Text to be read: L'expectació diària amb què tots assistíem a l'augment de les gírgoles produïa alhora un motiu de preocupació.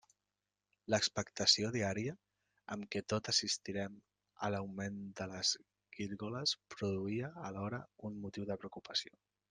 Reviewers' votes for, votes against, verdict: 0, 2, rejected